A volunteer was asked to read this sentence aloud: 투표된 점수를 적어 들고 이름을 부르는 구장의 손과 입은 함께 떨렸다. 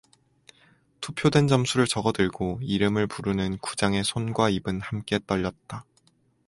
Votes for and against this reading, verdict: 4, 0, accepted